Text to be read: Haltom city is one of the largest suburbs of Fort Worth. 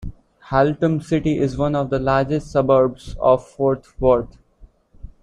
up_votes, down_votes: 1, 2